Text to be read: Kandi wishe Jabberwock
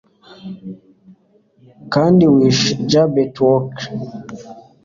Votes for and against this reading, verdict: 2, 0, accepted